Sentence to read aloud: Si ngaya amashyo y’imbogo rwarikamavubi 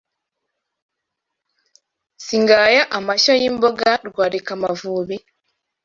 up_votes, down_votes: 1, 2